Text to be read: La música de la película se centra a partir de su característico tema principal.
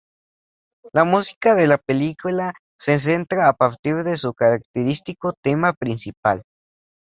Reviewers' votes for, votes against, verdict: 2, 0, accepted